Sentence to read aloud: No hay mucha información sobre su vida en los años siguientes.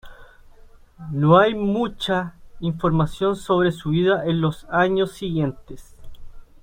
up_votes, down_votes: 2, 0